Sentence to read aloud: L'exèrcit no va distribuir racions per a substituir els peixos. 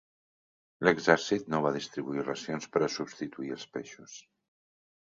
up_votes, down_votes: 3, 0